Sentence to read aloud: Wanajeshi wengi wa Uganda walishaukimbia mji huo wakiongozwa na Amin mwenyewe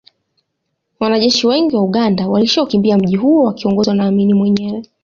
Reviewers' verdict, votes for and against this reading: accepted, 2, 0